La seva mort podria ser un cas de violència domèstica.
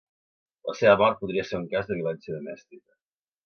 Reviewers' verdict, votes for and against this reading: accepted, 2, 0